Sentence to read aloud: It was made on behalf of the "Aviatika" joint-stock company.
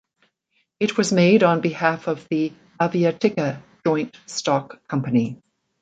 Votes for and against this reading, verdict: 2, 0, accepted